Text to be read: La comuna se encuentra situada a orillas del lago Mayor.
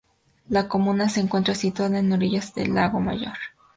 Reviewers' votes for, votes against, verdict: 0, 2, rejected